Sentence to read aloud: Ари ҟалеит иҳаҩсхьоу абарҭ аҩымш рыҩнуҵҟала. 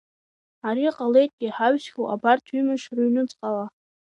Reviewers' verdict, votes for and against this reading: rejected, 1, 2